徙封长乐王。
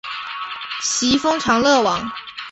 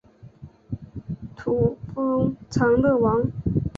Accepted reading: first